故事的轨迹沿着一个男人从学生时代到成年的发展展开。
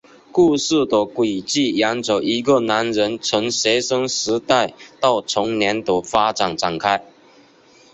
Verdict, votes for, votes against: accepted, 2, 1